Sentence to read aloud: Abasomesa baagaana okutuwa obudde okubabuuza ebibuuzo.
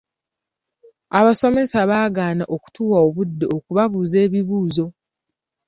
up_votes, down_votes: 2, 0